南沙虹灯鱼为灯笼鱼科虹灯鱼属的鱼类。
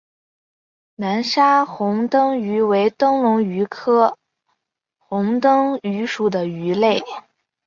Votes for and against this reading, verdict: 4, 0, accepted